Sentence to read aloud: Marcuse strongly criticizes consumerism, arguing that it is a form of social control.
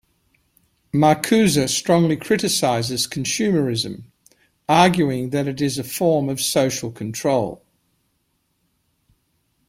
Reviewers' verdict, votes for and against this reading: accepted, 2, 0